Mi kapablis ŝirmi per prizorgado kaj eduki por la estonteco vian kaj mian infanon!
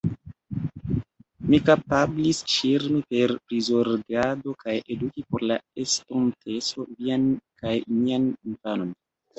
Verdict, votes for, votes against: rejected, 0, 2